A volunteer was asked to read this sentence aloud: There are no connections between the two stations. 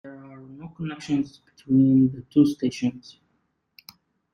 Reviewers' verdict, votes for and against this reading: rejected, 0, 2